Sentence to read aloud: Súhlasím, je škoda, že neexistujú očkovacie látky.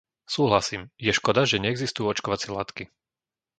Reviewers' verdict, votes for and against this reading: accepted, 2, 0